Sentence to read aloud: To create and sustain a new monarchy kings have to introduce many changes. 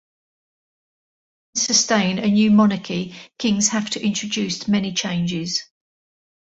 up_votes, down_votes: 0, 2